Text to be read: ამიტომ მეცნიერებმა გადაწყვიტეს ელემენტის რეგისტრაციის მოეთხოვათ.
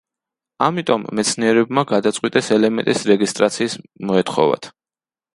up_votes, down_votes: 1, 2